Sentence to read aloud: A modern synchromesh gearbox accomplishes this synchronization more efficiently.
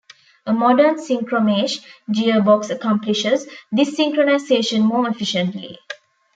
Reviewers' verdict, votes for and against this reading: rejected, 1, 2